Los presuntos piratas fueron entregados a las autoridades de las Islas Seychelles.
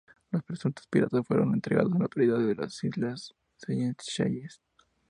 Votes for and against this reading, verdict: 2, 0, accepted